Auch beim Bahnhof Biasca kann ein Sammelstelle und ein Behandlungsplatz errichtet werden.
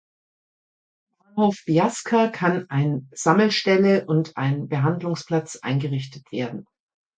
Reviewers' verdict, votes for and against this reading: rejected, 0, 2